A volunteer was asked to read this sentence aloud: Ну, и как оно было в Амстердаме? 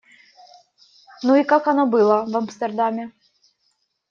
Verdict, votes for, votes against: accepted, 2, 0